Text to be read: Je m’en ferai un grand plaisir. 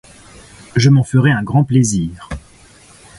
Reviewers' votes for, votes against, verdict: 2, 0, accepted